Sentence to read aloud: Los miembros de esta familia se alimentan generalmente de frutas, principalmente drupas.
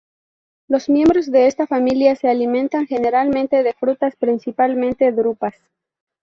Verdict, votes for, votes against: accepted, 2, 0